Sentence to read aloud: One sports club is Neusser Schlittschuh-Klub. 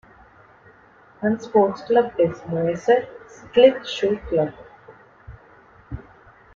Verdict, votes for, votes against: accepted, 2, 0